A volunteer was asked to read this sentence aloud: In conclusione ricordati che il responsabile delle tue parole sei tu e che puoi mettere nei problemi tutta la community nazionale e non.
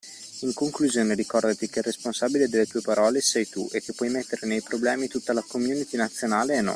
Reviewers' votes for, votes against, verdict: 2, 1, accepted